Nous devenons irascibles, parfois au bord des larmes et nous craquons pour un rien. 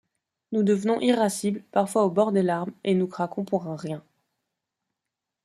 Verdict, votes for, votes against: accepted, 2, 0